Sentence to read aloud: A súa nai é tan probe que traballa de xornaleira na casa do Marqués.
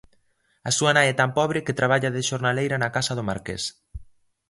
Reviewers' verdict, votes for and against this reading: rejected, 0, 2